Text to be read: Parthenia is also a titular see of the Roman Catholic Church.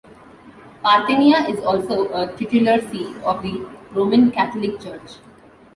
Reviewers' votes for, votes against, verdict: 2, 0, accepted